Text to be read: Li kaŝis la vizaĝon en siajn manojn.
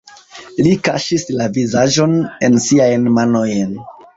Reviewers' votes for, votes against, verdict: 2, 1, accepted